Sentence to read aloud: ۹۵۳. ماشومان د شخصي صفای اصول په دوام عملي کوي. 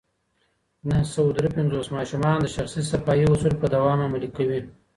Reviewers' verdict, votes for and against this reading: rejected, 0, 2